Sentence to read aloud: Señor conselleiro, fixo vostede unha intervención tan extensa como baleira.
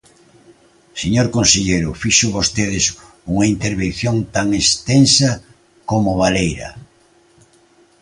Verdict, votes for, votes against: rejected, 1, 2